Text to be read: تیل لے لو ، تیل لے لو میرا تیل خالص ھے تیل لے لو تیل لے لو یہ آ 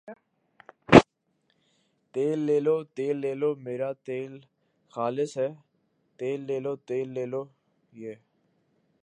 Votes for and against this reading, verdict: 2, 2, rejected